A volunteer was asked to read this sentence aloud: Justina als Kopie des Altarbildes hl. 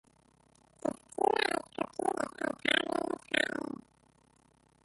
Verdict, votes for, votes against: rejected, 0, 2